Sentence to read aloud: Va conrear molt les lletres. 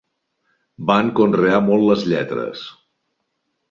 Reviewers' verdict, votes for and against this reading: rejected, 0, 2